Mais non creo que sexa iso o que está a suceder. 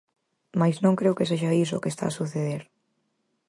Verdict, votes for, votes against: accepted, 4, 0